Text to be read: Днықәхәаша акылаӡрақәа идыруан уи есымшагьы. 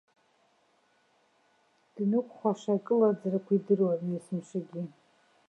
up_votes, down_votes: 2, 0